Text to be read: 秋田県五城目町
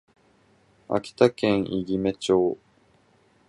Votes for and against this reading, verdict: 0, 4, rejected